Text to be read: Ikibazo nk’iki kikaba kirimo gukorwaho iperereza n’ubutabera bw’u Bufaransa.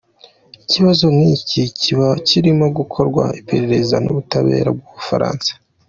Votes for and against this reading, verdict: 1, 2, rejected